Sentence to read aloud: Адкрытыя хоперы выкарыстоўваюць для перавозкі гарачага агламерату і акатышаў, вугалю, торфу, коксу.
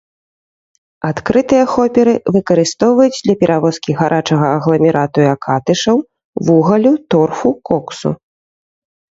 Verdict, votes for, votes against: accepted, 2, 0